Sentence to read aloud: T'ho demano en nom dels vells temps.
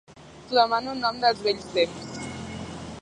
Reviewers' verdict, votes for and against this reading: rejected, 2, 3